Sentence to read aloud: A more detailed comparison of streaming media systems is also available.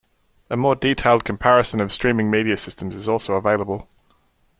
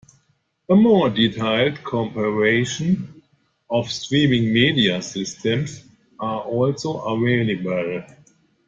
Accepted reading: first